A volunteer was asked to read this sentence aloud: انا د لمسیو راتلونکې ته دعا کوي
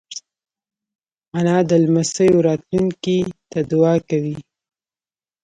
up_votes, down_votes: 1, 2